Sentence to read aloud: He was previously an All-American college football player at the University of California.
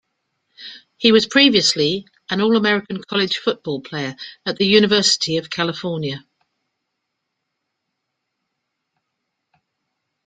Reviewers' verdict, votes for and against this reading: accepted, 2, 0